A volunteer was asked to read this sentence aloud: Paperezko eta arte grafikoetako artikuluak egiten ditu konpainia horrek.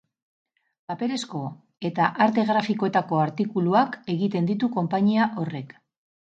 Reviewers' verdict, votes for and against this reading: accepted, 4, 0